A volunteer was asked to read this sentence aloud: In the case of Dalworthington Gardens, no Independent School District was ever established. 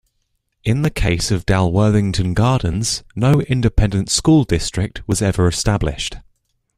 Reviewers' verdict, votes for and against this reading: accepted, 2, 0